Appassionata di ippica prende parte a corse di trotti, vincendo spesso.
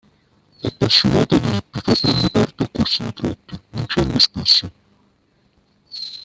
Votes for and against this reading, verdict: 1, 2, rejected